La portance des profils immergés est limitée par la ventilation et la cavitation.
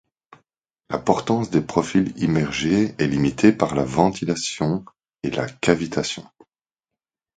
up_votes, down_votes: 2, 0